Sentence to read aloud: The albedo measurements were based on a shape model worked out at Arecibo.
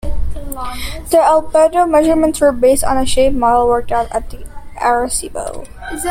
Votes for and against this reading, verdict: 0, 2, rejected